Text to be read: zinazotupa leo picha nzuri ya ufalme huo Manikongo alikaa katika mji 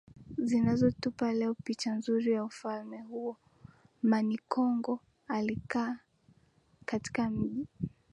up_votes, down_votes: 0, 2